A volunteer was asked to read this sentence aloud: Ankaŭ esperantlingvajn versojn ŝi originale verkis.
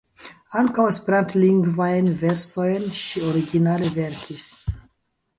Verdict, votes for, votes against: accepted, 3, 0